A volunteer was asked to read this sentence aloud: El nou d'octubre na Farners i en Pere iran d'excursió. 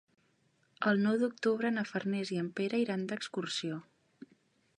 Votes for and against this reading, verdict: 2, 0, accepted